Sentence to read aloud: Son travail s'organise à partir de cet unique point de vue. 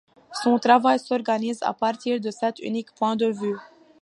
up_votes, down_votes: 2, 0